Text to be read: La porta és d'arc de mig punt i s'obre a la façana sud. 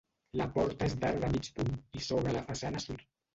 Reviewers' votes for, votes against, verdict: 0, 2, rejected